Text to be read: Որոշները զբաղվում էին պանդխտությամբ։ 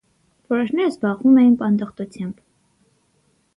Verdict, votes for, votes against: accepted, 6, 0